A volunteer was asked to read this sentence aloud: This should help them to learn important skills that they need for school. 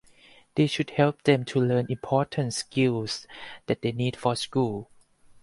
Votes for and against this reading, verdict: 4, 0, accepted